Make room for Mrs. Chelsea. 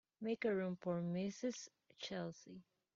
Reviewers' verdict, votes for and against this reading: accepted, 3, 0